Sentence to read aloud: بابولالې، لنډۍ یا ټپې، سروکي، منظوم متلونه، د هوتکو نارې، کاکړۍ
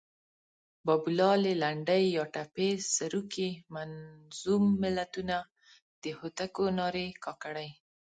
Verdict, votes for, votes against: rejected, 1, 2